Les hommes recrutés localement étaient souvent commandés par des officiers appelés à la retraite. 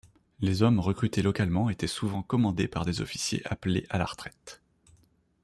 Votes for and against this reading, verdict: 2, 0, accepted